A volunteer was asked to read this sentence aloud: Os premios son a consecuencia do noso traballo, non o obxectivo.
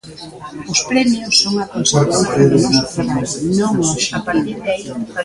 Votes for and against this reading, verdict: 0, 2, rejected